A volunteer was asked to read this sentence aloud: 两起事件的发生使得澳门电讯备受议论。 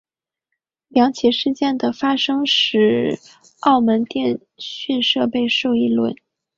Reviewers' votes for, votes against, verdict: 4, 3, accepted